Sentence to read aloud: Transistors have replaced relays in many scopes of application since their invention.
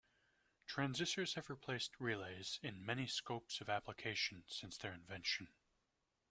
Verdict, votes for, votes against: accepted, 2, 0